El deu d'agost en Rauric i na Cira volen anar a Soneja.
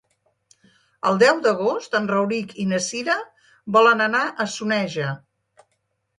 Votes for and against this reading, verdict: 3, 0, accepted